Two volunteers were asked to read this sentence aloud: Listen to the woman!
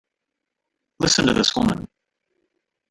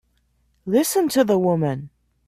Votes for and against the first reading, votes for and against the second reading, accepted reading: 0, 2, 2, 0, second